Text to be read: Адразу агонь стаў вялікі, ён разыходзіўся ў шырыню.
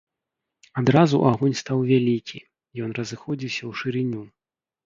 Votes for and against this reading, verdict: 2, 0, accepted